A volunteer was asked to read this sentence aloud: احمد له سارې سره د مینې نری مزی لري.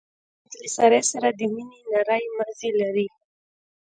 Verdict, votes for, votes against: accepted, 2, 0